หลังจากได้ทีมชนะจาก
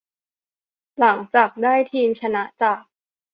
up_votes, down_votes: 2, 0